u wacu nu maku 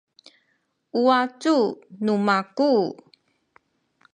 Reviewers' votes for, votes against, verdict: 1, 2, rejected